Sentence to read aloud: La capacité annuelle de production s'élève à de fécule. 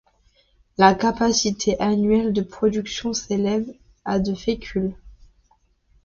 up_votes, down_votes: 2, 0